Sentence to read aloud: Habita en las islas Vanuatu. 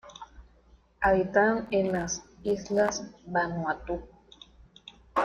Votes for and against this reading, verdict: 1, 2, rejected